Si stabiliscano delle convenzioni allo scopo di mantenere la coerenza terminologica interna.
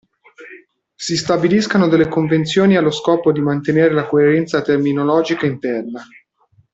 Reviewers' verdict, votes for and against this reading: accepted, 2, 0